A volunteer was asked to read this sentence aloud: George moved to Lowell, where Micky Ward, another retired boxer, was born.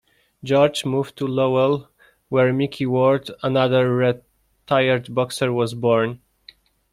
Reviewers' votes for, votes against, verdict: 0, 2, rejected